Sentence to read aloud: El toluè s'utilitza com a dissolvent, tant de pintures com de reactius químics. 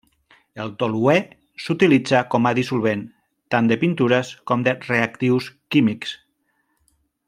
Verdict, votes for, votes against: accepted, 3, 1